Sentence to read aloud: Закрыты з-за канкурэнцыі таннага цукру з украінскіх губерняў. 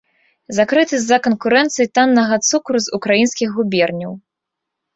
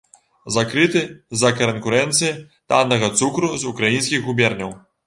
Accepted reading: first